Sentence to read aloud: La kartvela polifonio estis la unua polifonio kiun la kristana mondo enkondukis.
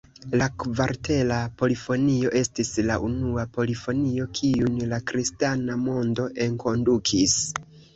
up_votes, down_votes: 0, 2